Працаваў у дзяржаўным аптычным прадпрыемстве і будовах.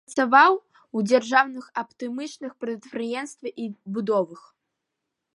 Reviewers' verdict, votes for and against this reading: rejected, 0, 2